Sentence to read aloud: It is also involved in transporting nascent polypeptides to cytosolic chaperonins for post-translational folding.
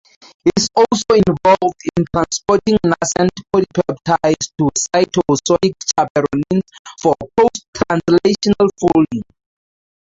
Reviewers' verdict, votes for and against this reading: rejected, 0, 4